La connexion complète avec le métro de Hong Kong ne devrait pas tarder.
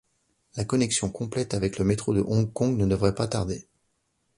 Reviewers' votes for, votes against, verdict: 2, 0, accepted